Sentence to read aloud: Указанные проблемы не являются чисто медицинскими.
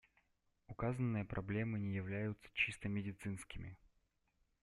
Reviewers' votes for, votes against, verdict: 2, 0, accepted